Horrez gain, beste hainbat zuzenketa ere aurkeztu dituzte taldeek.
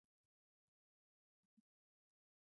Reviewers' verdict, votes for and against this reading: rejected, 2, 4